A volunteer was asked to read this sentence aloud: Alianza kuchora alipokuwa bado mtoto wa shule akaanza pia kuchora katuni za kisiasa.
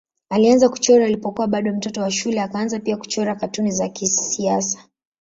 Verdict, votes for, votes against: accepted, 2, 0